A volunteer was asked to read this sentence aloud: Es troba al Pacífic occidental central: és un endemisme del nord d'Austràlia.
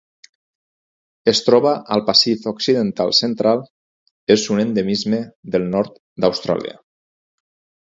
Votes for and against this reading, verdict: 0, 4, rejected